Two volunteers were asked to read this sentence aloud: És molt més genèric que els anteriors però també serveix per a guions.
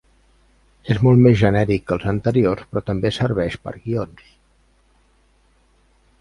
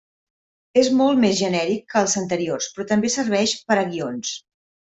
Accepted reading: second